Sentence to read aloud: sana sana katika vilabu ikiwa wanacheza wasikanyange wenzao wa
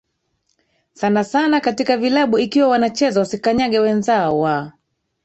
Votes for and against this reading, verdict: 2, 3, rejected